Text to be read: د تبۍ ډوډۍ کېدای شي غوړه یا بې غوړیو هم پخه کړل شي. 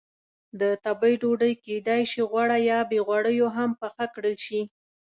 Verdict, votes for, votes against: accepted, 2, 0